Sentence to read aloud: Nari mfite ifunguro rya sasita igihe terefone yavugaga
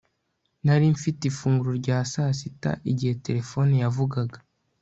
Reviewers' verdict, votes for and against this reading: accepted, 2, 0